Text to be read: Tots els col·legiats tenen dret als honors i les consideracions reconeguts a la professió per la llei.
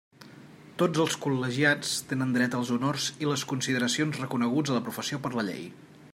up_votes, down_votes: 3, 0